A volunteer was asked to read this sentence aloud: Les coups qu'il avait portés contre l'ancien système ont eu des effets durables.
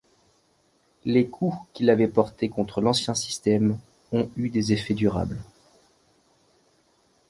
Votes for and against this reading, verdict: 2, 0, accepted